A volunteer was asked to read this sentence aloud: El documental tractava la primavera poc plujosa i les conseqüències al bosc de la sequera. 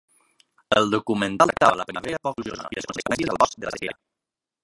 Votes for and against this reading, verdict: 0, 2, rejected